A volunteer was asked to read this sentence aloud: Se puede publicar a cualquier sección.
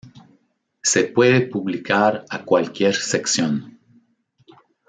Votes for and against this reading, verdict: 2, 0, accepted